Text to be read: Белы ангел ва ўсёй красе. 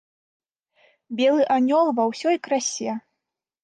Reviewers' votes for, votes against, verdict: 0, 2, rejected